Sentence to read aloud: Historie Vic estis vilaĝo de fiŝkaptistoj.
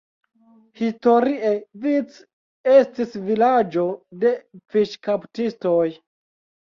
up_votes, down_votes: 2, 1